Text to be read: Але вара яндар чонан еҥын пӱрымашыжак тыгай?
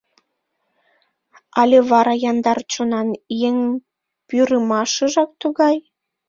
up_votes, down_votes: 0, 2